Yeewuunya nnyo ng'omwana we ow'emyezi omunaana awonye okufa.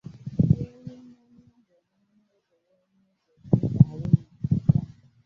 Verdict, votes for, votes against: rejected, 0, 2